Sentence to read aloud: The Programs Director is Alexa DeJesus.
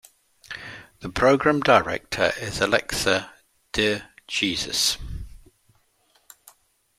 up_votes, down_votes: 0, 2